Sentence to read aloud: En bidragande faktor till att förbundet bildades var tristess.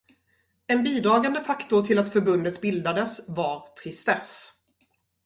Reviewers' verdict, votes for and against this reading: rejected, 2, 2